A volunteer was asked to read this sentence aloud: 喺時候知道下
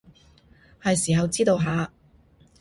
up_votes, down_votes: 0, 2